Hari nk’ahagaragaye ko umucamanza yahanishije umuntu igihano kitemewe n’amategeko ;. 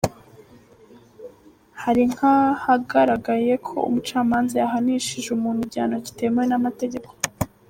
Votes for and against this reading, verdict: 2, 1, accepted